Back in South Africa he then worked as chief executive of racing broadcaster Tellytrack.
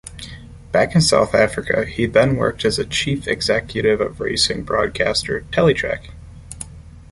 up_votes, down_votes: 0, 2